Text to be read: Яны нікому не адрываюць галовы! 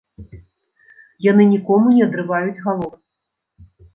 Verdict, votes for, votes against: rejected, 0, 2